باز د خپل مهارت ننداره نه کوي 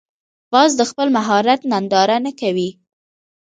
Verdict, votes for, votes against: accepted, 2, 1